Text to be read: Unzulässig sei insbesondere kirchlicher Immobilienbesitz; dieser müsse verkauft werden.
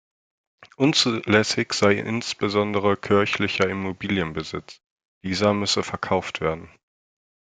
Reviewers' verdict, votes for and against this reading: accepted, 2, 1